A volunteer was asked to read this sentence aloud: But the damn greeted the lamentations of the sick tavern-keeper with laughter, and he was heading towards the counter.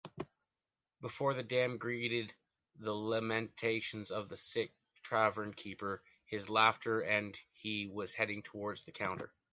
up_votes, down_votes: 0, 2